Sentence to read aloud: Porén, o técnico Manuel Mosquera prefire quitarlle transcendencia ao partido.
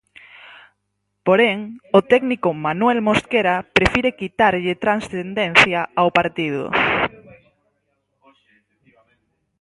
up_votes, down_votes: 0, 4